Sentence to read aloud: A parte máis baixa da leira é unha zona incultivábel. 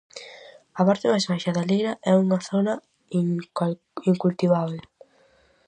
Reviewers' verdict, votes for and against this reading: rejected, 0, 4